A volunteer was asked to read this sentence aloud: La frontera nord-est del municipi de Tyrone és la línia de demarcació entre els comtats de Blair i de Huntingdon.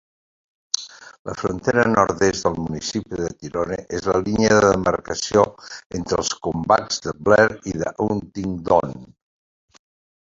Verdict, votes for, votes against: rejected, 0, 2